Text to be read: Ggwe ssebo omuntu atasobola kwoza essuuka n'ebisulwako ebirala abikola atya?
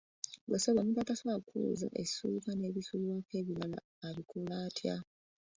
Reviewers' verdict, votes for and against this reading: rejected, 1, 2